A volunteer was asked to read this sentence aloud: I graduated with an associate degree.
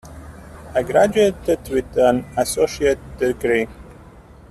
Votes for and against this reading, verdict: 2, 0, accepted